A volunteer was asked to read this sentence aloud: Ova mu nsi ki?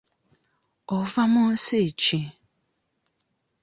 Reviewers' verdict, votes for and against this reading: accepted, 2, 0